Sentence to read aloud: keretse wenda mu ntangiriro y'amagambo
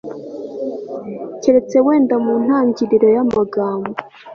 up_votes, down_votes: 2, 0